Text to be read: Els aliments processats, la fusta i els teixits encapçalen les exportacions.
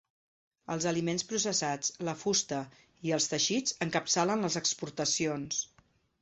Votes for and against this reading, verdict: 2, 0, accepted